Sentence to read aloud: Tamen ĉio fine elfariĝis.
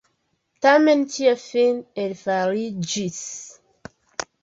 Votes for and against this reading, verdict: 1, 2, rejected